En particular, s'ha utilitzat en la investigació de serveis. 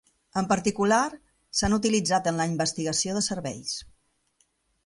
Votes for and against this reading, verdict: 0, 2, rejected